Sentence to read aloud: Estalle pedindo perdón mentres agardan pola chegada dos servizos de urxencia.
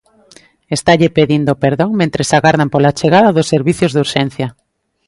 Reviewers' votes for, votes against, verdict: 0, 2, rejected